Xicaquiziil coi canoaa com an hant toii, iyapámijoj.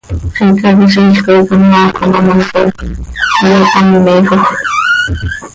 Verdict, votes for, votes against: rejected, 0, 2